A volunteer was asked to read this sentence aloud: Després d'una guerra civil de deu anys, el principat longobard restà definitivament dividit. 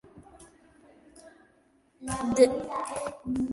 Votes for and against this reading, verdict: 0, 2, rejected